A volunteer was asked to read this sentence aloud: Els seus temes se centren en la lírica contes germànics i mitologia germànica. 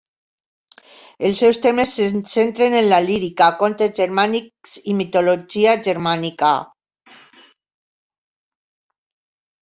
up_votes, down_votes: 2, 0